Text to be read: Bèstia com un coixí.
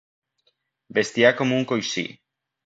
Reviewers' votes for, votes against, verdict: 0, 2, rejected